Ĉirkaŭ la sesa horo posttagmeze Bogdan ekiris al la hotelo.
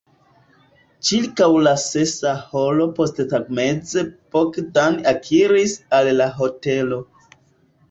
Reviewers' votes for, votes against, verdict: 2, 1, accepted